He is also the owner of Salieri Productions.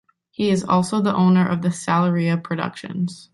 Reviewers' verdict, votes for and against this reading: rejected, 1, 2